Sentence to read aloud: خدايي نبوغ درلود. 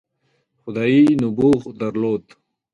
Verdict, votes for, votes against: accepted, 2, 0